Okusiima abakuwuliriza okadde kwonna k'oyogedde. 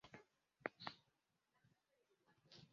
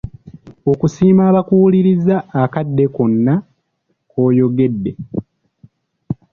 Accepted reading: second